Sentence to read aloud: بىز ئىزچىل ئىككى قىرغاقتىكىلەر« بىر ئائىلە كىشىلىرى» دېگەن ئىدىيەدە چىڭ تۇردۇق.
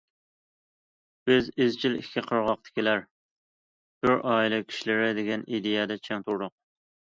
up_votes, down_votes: 2, 0